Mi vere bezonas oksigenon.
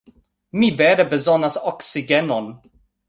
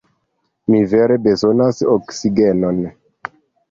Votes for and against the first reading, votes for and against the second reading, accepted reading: 2, 0, 1, 2, first